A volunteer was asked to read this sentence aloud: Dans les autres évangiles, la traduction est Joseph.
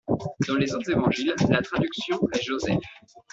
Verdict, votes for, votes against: accepted, 2, 0